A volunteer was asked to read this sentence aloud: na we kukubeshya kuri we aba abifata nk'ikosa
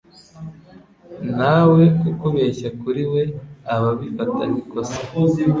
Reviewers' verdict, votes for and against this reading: accepted, 2, 0